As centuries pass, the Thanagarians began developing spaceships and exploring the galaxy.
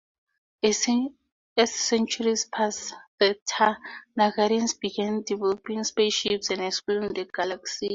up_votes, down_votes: 0, 2